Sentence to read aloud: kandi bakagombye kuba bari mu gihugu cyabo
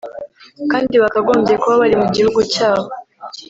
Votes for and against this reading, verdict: 0, 2, rejected